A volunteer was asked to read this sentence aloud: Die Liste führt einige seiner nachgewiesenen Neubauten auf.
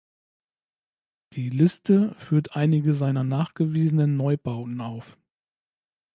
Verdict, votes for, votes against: rejected, 1, 2